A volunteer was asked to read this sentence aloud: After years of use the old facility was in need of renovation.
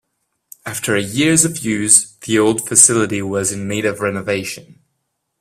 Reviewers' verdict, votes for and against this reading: accepted, 2, 0